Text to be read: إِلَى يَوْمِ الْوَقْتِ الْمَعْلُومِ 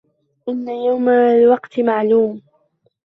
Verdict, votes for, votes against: rejected, 0, 2